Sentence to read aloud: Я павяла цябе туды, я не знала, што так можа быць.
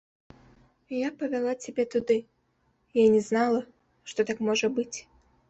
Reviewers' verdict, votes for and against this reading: accepted, 2, 0